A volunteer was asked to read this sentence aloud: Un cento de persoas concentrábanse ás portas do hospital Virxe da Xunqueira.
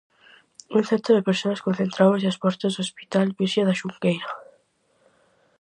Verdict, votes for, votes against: rejected, 2, 2